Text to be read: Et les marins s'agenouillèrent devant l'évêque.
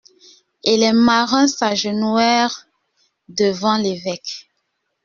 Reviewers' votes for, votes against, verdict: 0, 2, rejected